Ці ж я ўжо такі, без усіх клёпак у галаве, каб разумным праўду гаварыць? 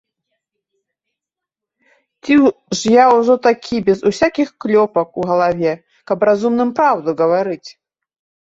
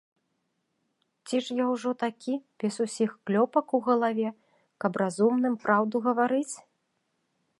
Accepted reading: second